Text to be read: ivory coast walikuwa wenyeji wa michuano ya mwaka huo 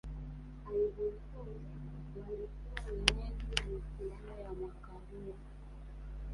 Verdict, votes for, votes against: rejected, 0, 2